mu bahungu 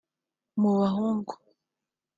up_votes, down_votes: 2, 0